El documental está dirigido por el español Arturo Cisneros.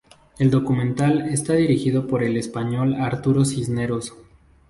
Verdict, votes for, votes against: rejected, 2, 2